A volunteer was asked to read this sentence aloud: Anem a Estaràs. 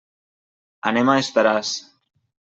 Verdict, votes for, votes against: accepted, 3, 0